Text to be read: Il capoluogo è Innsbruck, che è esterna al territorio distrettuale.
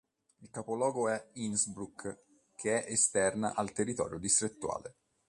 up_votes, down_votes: 3, 0